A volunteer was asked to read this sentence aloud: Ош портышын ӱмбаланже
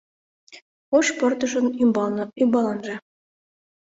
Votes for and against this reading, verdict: 1, 2, rejected